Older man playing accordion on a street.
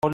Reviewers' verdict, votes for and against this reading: rejected, 0, 2